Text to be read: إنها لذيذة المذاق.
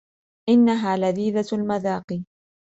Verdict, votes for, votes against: accepted, 2, 0